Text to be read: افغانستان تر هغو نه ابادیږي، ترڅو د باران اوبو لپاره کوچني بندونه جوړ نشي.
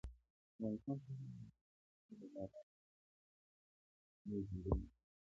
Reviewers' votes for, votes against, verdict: 1, 2, rejected